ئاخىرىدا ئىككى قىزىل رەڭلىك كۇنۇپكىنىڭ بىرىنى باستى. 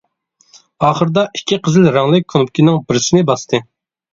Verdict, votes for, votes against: rejected, 1, 2